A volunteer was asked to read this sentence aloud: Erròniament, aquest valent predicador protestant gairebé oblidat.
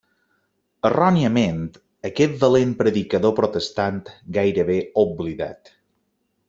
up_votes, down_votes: 2, 0